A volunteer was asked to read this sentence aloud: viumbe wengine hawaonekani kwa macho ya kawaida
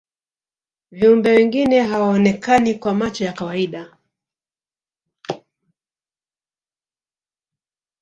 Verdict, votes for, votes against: rejected, 0, 2